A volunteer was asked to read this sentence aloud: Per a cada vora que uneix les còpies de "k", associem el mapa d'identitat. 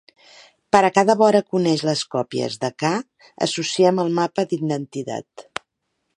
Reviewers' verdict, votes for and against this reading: rejected, 0, 3